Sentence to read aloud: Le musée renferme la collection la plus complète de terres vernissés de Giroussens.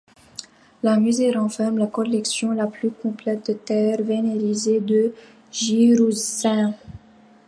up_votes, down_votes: 1, 2